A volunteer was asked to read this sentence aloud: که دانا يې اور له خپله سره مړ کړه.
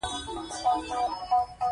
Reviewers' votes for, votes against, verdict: 0, 2, rejected